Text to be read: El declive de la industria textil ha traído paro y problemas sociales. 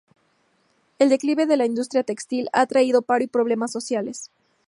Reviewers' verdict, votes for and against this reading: accepted, 2, 0